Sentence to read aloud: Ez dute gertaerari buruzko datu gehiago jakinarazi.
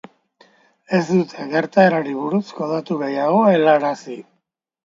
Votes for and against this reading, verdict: 1, 3, rejected